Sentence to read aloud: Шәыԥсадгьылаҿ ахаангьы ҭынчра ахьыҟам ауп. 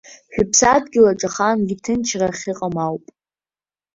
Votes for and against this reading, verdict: 2, 0, accepted